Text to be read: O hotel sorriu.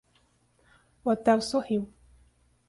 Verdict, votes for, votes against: accepted, 2, 0